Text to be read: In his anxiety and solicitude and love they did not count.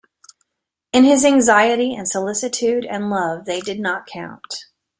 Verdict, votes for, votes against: accepted, 2, 0